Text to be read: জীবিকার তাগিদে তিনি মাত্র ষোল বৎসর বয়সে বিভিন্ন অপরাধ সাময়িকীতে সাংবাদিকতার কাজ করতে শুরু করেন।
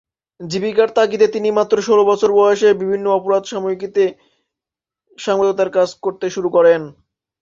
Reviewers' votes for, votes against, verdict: 1, 2, rejected